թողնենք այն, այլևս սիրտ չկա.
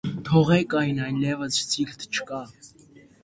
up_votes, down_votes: 0, 2